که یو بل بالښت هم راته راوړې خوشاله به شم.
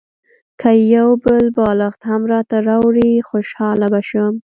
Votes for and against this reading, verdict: 2, 0, accepted